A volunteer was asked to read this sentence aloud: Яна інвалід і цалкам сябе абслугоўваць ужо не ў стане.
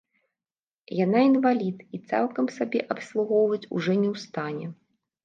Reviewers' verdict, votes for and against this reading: rejected, 0, 2